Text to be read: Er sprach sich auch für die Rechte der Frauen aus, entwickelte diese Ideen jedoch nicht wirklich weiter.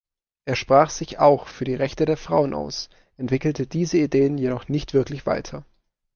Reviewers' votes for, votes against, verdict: 3, 0, accepted